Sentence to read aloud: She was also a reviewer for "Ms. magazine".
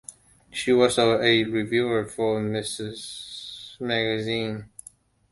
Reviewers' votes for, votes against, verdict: 0, 2, rejected